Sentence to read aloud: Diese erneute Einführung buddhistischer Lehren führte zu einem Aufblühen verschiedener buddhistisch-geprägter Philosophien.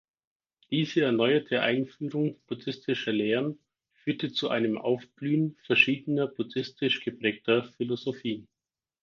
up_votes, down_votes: 2, 4